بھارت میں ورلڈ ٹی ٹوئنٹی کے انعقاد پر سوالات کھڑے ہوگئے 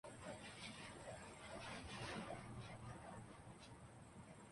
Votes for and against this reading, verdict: 1, 2, rejected